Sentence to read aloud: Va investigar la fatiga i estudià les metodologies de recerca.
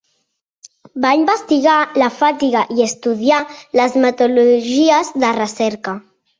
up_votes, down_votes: 1, 2